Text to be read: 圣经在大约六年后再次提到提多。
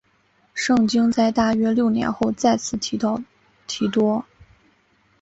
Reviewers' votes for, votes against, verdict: 6, 0, accepted